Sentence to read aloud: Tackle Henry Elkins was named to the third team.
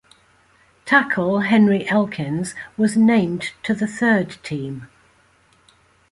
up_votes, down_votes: 2, 0